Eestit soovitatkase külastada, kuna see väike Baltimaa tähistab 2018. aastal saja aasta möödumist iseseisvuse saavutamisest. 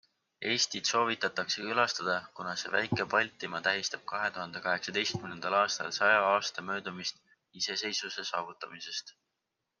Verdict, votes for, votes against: rejected, 0, 2